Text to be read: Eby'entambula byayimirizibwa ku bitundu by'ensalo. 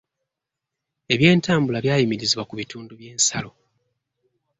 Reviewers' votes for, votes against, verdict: 2, 1, accepted